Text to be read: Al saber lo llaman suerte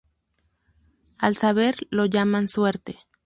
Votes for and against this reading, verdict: 2, 0, accepted